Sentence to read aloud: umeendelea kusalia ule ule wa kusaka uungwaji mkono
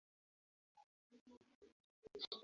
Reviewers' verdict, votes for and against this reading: rejected, 0, 2